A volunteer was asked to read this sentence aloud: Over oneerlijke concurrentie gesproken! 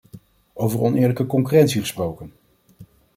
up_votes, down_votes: 2, 0